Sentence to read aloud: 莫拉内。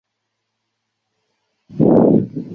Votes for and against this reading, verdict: 1, 2, rejected